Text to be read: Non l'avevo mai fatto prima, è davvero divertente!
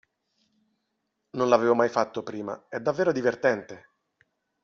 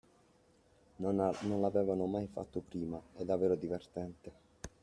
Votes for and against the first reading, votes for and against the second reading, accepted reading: 2, 0, 1, 2, first